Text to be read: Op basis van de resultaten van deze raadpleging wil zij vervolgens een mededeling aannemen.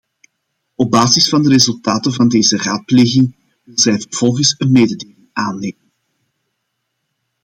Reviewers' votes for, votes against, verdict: 0, 2, rejected